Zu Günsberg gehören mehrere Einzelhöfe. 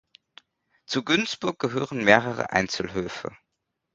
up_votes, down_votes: 1, 2